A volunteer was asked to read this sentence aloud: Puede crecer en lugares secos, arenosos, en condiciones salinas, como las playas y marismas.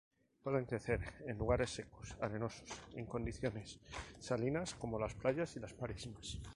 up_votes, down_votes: 2, 0